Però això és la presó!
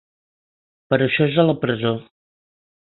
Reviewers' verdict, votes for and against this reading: rejected, 2, 4